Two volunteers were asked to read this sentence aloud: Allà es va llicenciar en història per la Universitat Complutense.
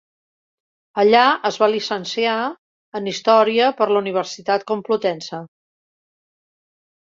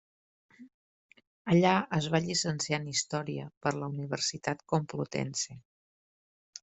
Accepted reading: second